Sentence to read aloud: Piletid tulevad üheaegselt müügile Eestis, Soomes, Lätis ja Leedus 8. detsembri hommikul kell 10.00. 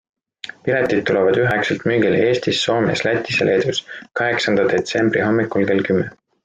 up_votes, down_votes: 0, 2